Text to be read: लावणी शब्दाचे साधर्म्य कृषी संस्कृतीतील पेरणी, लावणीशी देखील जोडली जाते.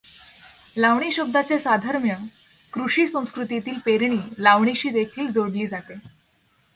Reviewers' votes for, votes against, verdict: 2, 0, accepted